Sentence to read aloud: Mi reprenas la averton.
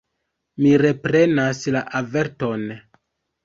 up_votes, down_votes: 1, 2